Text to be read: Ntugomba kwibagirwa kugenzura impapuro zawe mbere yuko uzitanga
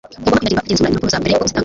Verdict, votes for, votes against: rejected, 1, 2